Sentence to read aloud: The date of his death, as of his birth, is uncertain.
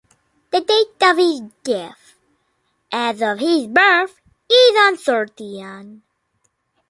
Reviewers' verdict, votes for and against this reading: rejected, 0, 2